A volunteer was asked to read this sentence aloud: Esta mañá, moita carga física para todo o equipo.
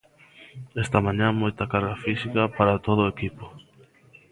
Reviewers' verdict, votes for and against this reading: accepted, 2, 1